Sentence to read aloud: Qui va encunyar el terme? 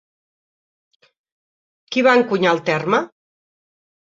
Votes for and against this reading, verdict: 3, 0, accepted